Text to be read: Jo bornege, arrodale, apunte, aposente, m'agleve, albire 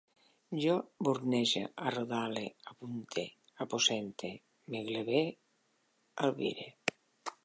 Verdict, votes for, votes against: accepted, 2, 1